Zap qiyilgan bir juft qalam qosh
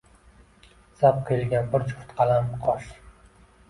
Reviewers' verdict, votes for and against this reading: accepted, 2, 1